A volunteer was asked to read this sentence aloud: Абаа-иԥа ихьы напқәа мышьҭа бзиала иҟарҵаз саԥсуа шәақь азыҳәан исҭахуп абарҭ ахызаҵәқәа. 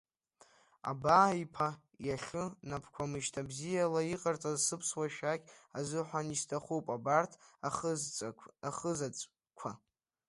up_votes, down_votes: 0, 2